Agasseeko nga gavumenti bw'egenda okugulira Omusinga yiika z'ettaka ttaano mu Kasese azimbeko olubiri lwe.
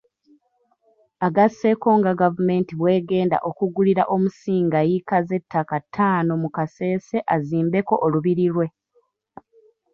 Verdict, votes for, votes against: rejected, 1, 2